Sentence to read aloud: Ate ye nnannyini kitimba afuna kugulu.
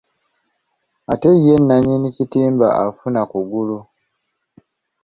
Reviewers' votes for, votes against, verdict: 2, 0, accepted